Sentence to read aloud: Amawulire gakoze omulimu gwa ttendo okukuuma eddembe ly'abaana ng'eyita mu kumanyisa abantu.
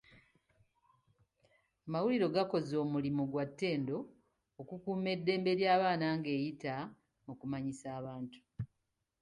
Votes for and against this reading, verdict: 2, 0, accepted